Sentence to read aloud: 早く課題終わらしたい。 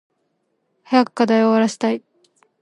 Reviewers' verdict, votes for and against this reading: accepted, 2, 0